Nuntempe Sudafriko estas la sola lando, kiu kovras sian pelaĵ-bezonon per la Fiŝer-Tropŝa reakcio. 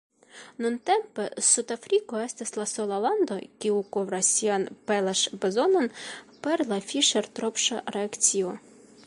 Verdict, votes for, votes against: accepted, 2, 1